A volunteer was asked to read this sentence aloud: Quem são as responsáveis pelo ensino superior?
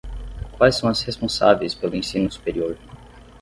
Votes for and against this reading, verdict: 0, 6, rejected